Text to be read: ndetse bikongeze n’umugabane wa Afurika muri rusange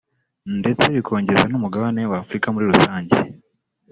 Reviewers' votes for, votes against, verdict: 2, 1, accepted